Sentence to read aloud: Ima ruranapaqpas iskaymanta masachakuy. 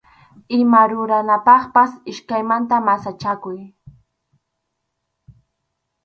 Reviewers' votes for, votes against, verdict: 4, 0, accepted